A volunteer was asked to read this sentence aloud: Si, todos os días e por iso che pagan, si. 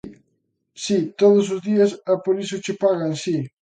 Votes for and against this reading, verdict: 2, 0, accepted